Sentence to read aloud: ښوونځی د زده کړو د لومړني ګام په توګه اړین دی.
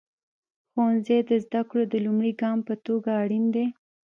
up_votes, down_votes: 2, 0